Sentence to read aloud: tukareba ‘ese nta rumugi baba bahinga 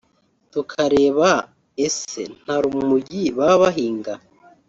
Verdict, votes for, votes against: rejected, 0, 2